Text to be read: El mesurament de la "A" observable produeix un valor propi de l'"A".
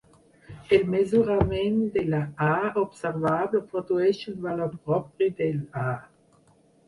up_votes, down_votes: 4, 2